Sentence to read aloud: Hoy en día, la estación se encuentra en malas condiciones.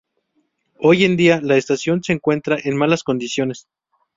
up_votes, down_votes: 2, 0